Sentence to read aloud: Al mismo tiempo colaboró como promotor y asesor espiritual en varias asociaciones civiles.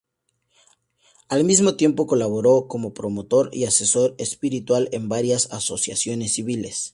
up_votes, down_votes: 2, 0